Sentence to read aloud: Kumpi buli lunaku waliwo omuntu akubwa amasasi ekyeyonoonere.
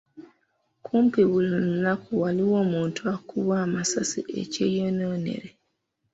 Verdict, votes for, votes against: rejected, 1, 2